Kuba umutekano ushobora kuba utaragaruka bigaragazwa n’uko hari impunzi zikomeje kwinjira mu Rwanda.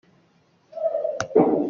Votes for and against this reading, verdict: 0, 2, rejected